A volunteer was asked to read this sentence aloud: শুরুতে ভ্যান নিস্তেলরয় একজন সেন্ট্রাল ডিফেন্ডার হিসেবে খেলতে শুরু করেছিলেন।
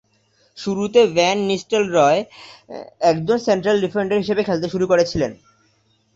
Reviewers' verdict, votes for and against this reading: accepted, 2, 0